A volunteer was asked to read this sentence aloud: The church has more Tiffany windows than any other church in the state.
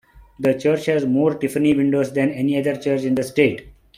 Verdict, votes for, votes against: accepted, 2, 0